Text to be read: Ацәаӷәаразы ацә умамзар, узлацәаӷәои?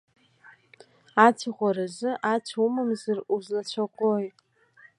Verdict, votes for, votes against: accepted, 2, 0